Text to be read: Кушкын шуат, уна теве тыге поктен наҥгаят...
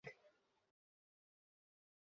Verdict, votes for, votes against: rejected, 0, 2